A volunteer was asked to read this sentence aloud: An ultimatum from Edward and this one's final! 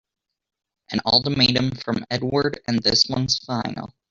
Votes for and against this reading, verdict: 1, 2, rejected